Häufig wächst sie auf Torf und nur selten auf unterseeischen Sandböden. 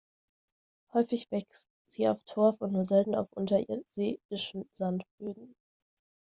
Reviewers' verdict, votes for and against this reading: rejected, 1, 2